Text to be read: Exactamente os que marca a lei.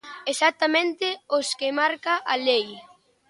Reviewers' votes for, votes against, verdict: 2, 0, accepted